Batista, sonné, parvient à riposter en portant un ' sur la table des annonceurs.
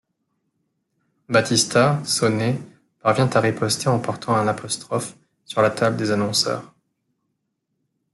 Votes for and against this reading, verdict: 0, 2, rejected